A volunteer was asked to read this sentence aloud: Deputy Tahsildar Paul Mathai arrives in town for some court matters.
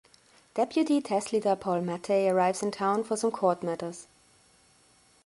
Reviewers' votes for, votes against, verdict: 2, 1, accepted